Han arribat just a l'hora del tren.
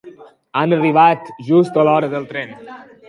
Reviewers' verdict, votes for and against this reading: accepted, 2, 0